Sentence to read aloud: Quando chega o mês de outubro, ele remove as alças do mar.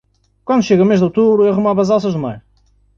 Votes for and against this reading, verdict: 1, 2, rejected